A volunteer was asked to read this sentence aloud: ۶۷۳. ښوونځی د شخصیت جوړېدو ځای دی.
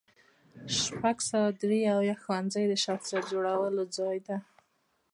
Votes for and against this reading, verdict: 0, 2, rejected